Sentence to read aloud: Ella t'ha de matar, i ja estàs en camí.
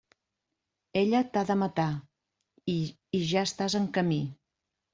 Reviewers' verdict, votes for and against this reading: rejected, 0, 2